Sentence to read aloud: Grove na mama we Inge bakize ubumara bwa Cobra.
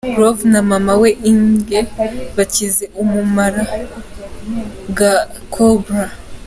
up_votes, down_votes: 2, 1